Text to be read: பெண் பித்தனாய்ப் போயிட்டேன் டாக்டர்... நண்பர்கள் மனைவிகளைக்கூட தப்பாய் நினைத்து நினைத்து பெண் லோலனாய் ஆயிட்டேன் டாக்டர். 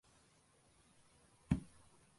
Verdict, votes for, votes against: rejected, 0, 2